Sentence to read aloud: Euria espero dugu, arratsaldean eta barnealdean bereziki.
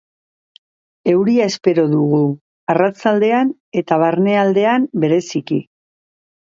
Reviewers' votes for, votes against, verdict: 2, 0, accepted